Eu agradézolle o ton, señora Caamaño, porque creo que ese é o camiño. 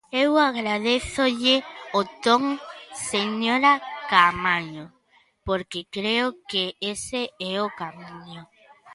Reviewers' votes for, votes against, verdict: 1, 2, rejected